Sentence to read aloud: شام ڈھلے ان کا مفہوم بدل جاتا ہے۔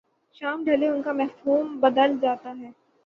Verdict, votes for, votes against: accepted, 15, 0